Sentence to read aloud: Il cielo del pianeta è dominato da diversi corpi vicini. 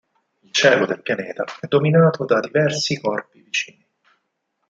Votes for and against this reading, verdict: 2, 4, rejected